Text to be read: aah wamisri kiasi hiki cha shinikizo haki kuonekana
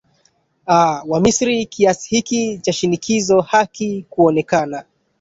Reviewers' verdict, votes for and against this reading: rejected, 0, 2